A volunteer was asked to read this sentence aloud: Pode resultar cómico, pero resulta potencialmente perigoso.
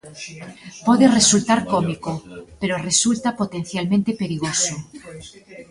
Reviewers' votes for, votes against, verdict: 2, 1, accepted